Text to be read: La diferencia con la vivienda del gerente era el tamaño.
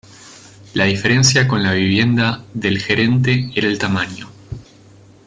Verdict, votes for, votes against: accepted, 2, 0